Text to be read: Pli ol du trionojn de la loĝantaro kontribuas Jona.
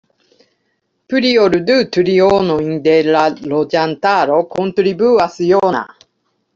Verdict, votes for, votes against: rejected, 0, 2